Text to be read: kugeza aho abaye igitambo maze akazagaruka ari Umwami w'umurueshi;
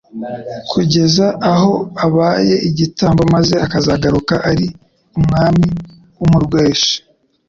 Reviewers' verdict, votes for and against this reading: accepted, 2, 0